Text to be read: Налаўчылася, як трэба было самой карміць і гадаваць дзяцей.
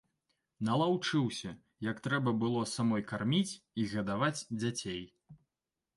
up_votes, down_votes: 0, 2